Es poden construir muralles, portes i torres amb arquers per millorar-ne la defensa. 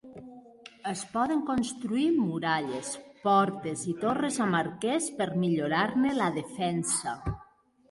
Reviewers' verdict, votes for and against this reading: accepted, 2, 0